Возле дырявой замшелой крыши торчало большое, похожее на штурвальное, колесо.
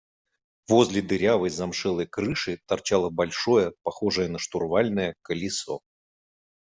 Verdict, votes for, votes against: accepted, 2, 0